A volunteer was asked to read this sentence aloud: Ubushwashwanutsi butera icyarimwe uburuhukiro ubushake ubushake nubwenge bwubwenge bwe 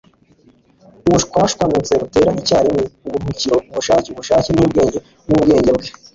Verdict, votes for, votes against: rejected, 1, 2